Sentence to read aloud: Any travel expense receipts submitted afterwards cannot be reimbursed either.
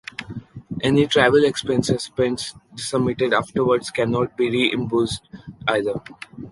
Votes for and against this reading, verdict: 1, 2, rejected